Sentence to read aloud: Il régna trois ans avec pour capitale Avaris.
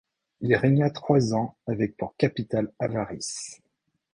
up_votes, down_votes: 2, 0